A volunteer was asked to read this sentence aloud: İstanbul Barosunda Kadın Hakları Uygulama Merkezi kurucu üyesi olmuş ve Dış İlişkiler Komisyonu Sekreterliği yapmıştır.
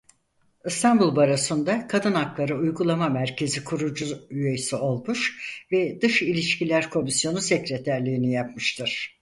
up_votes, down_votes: 0, 4